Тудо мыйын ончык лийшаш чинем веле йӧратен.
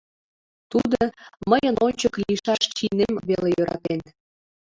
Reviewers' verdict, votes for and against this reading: accepted, 2, 1